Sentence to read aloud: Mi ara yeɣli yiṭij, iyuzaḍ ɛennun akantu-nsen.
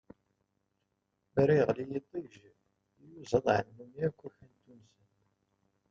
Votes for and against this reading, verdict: 0, 2, rejected